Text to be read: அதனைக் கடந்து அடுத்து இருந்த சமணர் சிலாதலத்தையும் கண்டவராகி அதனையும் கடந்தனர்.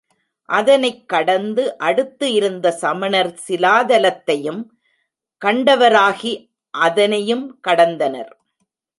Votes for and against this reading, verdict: 2, 0, accepted